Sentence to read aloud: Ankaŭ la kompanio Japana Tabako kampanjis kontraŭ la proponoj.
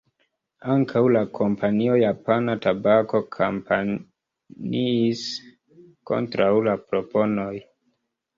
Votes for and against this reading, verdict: 0, 2, rejected